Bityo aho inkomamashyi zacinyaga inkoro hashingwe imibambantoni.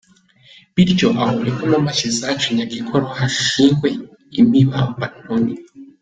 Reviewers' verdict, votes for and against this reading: accepted, 3, 0